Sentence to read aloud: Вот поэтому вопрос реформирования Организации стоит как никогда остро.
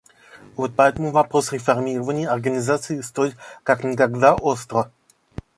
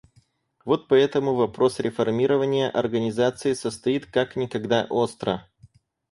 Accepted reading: first